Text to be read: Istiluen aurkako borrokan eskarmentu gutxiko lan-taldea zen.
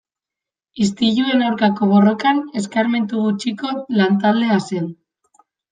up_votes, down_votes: 2, 0